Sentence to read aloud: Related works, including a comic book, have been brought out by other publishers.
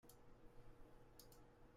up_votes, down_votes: 0, 2